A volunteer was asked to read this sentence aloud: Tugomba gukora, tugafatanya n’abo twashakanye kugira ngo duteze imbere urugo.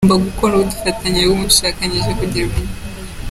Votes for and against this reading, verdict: 0, 2, rejected